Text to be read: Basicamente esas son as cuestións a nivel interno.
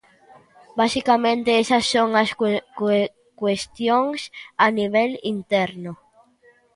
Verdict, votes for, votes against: rejected, 0, 2